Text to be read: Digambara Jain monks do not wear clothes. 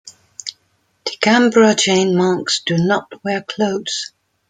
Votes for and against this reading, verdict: 0, 2, rejected